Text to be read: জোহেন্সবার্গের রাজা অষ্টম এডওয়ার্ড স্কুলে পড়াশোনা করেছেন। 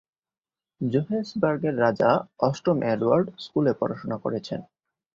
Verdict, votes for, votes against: accepted, 11, 0